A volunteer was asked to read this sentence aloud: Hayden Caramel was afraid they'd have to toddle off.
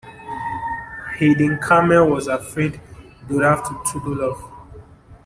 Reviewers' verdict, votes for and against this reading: rejected, 1, 2